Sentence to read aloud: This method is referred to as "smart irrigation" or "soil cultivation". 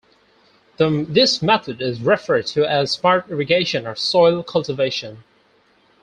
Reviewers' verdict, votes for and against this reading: accepted, 4, 2